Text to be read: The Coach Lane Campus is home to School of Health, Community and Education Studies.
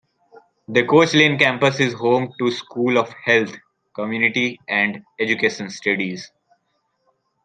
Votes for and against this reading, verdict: 2, 0, accepted